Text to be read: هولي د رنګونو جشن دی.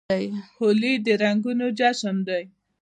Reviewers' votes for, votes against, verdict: 2, 0, accepted